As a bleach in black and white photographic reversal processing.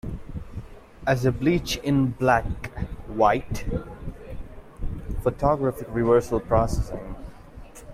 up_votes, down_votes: 1, 2